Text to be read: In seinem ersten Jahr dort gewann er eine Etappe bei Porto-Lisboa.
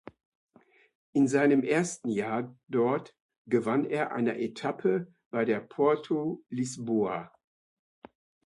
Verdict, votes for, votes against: rejected, 0, 2